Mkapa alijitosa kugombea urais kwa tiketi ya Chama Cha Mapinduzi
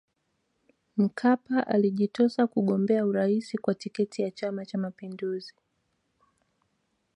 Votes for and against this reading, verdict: 2, 0, accepted